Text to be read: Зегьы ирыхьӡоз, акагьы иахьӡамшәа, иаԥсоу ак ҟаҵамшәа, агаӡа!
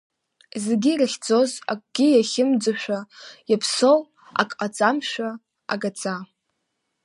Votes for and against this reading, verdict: 1, 2, rejected